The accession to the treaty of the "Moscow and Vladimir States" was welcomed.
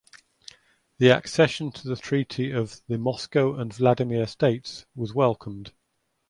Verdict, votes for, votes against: accepted, 2, 0